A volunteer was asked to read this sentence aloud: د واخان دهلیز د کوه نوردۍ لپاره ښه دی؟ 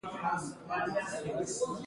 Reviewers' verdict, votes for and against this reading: rejected, 0, 2